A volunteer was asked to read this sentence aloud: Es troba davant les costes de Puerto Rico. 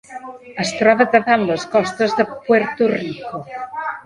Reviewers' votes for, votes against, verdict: 0, 2, rejected